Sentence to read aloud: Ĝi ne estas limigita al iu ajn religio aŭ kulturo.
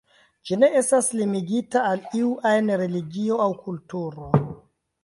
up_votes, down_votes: 2, 0